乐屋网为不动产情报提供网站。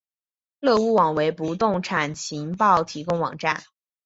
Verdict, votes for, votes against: accepted, 5, 0